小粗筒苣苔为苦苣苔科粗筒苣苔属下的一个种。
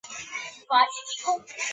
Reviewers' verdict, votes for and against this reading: rejected, 0, 3